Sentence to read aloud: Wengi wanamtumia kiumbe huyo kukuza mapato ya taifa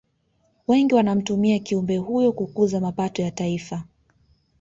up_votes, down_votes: 2, 0